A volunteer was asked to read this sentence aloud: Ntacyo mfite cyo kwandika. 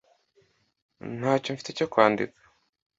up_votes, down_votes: 2, 0